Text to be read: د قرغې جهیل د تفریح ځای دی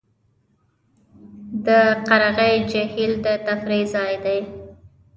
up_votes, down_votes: 1, 2